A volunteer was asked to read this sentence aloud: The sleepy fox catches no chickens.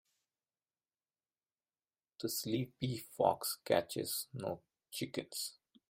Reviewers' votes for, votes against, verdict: 2, 0, accepted